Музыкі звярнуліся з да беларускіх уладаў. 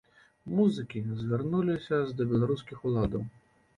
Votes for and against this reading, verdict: 1, 2, rejected